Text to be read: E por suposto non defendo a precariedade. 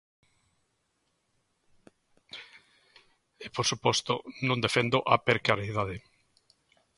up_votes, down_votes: 1, 2